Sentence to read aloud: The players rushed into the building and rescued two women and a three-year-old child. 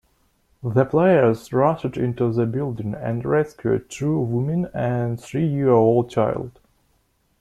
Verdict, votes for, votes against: rejected, 1, 2